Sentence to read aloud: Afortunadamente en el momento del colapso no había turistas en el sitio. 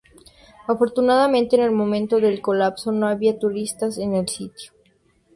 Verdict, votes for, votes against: accepted, 2, 0